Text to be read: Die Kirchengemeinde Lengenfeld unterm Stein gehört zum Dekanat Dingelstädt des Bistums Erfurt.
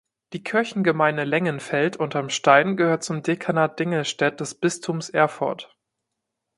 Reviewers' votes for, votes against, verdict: 2, 0, accepted